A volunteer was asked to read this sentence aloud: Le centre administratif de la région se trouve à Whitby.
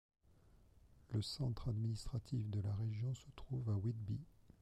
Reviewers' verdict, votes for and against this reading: accepted, 2, 0